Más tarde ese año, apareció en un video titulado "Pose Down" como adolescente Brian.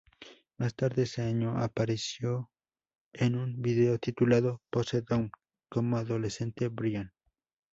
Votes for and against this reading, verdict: 0, 2, rejected